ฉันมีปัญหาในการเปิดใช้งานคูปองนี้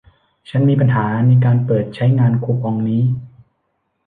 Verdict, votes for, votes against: accepted, 2, 1